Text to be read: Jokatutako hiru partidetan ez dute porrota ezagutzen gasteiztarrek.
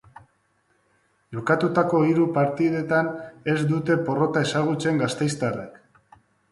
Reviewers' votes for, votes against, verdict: 3, 0, accepted